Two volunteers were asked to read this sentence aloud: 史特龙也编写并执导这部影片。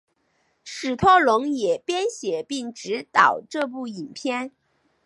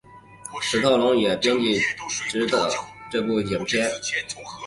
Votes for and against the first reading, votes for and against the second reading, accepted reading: 5, 0, 0, 4, first